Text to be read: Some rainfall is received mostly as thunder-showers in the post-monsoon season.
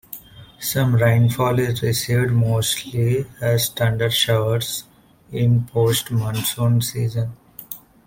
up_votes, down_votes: 1, 2